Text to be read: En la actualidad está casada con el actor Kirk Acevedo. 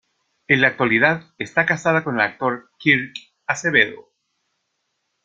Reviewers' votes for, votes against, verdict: 2, 0, accepted